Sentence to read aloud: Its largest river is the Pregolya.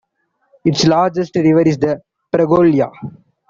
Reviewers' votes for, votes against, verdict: 2, 1, accepted